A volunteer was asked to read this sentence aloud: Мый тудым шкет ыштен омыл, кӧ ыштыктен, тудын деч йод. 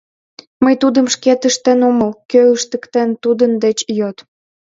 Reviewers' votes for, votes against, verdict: 2, 0, accepted